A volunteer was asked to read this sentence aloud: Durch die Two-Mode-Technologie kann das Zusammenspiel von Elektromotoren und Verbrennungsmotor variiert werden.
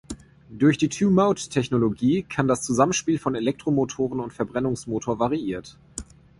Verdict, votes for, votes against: rejected, 0, 2